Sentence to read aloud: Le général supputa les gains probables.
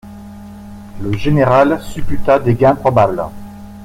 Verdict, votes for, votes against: rejected, 1, 2